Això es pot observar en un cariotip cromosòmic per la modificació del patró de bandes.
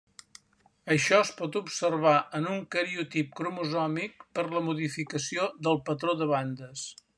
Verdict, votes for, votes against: accepted, 3, 0